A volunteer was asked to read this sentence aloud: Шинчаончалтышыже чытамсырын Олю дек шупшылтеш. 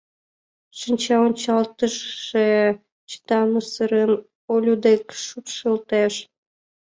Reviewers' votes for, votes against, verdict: 1, 2, rejected